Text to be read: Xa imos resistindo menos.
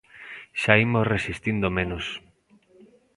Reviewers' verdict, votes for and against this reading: accepted, 2, 0